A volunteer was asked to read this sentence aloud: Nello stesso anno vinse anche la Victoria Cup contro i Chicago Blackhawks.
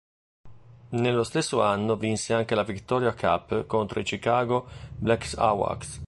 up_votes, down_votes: 2, 0